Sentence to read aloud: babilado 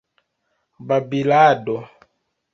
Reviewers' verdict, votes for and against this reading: accepted, 2, 0